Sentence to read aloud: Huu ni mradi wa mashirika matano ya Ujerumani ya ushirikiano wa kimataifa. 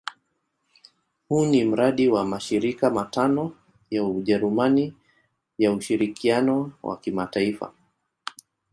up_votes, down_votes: 2, 0